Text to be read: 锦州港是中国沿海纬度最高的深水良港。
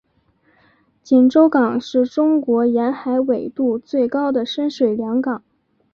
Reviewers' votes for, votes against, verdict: 4, 0, accepted